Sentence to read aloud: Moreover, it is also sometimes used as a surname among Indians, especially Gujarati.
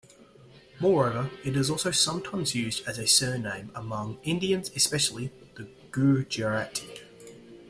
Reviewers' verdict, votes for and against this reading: accepted, 2, 1